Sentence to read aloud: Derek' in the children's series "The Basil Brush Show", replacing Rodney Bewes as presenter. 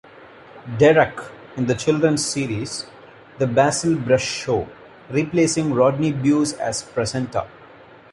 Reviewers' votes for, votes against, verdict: 2, 0, accepted